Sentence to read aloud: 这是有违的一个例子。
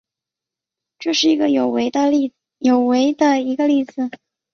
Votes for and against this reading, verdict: 1, 3, rejected